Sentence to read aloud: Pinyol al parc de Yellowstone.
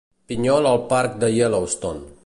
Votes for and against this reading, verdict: 2, 0, accepted